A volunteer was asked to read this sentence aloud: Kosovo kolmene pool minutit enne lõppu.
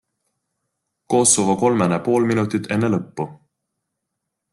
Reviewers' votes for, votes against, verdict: 2, 0, accepted